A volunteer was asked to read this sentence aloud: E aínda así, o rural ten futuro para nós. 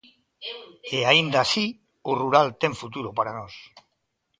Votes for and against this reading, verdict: 2, 0, accepted